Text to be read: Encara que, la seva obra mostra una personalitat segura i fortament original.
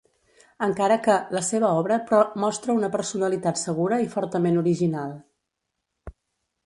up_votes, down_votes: 0, 2